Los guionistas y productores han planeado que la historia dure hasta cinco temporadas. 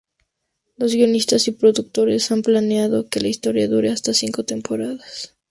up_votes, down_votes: 0, 2